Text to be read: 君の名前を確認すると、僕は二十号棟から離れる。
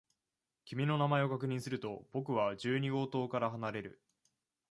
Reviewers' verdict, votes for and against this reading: rejected, 0, 2